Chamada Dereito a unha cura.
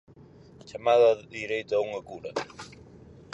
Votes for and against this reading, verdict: 2, 2, rejected